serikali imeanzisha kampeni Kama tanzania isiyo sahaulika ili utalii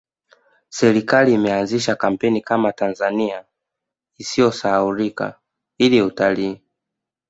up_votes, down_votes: 1, 2